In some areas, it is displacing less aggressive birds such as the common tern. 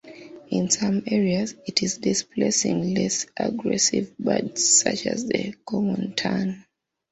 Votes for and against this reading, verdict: 2, 0, accepted